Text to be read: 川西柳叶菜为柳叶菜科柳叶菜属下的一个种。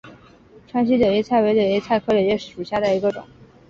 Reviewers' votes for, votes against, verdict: 0, 2, rejected